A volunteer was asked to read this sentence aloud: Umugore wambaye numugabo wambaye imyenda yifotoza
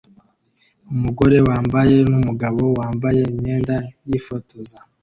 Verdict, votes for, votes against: accepted, 2, 0